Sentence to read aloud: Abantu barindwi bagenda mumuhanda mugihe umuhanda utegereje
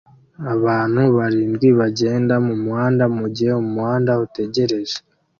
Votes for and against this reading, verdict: 2, 0, accepted